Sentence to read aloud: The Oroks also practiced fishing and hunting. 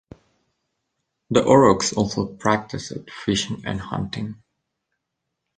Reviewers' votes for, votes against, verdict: 3, 2, accepted